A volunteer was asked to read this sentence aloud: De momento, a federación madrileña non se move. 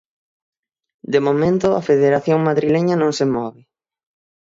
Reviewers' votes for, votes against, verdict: 6, 0, accepted